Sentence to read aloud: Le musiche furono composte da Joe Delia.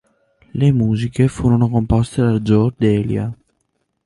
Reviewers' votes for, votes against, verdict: 4, 0, accepted